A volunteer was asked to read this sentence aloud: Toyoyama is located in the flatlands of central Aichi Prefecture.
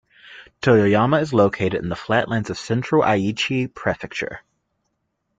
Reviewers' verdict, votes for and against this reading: accepted, 2, 0